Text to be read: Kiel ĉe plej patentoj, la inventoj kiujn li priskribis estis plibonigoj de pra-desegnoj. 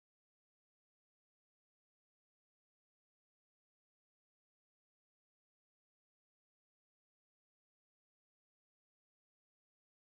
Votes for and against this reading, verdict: 1, 2, rejected